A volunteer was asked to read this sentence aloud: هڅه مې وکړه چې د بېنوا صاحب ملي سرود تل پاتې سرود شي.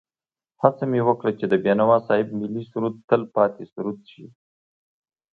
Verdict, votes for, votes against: accepted, 2, 0